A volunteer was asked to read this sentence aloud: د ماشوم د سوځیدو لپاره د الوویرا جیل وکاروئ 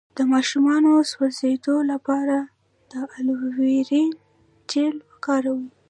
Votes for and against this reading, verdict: 2, 0, accepted